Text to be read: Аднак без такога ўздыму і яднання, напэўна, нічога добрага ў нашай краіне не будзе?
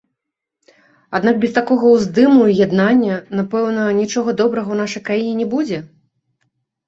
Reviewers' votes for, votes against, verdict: 2, 0, accepted